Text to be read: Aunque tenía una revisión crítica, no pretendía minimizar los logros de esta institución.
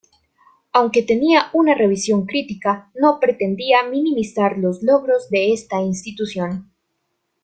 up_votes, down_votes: 2, 0